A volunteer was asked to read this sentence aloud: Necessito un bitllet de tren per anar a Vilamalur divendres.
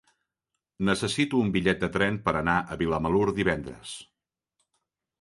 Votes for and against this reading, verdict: 3, 0, accepted